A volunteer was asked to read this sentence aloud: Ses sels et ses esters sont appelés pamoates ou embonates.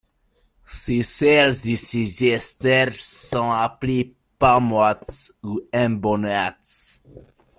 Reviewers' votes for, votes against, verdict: 1, 2, rejected